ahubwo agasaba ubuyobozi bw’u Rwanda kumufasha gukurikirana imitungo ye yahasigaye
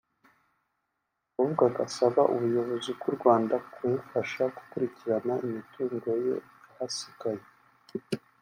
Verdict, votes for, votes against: accepted, 2, 0